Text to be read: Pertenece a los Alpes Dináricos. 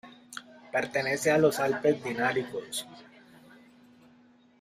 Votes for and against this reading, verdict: 2, 1, accepted